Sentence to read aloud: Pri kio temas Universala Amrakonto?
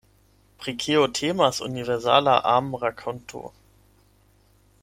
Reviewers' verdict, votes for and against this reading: accepted, 8, 4